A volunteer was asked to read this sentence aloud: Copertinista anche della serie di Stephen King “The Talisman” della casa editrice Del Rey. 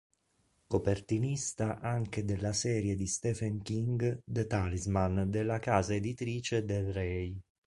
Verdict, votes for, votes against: accepted, 2, 0